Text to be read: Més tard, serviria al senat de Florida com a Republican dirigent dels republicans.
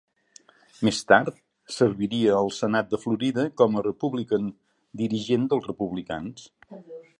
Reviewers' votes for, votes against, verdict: 2, 0, accepted